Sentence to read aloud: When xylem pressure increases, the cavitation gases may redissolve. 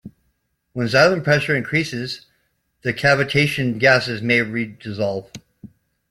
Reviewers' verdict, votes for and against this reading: accepted, 2, 1